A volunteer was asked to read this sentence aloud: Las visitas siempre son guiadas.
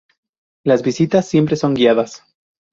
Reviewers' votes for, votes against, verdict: 0, 2, rejected